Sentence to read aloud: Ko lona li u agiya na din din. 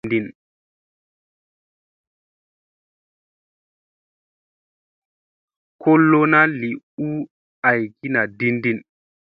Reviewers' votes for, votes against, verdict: 2, 0, accepted